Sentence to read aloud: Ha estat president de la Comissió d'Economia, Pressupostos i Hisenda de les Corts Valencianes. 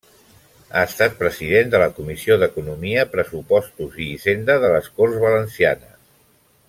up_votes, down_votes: 2, 0